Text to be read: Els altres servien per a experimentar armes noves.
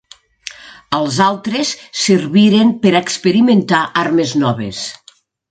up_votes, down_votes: 1, 2